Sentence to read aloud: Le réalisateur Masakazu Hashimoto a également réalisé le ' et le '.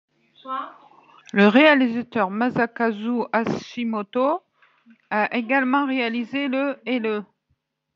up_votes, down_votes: 2, 0